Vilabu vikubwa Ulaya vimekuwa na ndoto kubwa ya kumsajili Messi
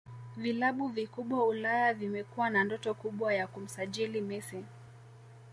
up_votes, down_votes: 2, 0